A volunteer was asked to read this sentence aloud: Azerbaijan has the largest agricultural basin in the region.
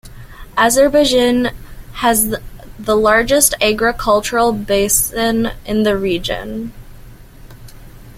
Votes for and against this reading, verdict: 0, 2, rejected